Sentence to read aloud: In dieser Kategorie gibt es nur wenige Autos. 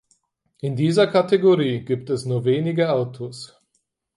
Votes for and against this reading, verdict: 4, 0, accepted